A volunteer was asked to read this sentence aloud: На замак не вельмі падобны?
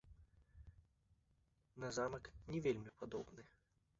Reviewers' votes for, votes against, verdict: 1, 2, rejected